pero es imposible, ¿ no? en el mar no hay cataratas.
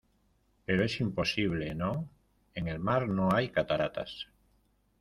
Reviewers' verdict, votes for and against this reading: accepted, 2, 0